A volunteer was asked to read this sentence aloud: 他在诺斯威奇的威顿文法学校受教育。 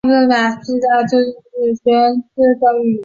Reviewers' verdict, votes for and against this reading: rejected, 0, 2